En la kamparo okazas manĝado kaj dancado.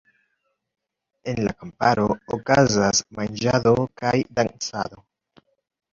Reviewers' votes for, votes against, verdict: 1, 2, rejected